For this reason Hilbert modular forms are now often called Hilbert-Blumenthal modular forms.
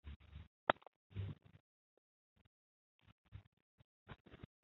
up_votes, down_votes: 0, 2